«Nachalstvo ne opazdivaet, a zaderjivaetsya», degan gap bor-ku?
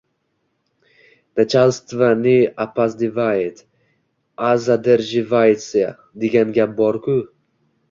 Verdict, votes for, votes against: rejected, 0, 2